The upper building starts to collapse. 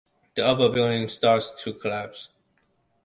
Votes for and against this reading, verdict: 2, 0, accepted